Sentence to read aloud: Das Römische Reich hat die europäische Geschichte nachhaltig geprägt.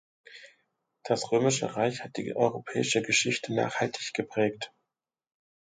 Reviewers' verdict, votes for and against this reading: accepted, 2, 0